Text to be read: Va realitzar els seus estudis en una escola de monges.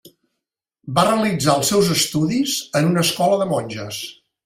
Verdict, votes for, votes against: accepted, 3, 0